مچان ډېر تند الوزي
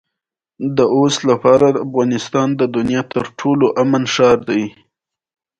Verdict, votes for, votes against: accepted, 2, 1